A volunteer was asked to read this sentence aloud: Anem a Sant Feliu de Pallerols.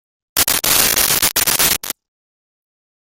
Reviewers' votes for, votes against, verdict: 0, 2, rejected